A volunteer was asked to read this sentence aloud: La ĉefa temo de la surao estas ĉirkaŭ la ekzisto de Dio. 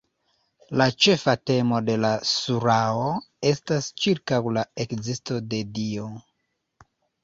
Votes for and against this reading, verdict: 2, 1, accepted